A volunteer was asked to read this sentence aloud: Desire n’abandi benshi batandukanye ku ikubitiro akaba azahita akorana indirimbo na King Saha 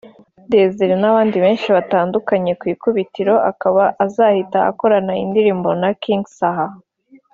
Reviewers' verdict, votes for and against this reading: accepted, 2, 0